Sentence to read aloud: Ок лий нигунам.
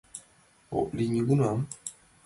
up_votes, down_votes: 2, 0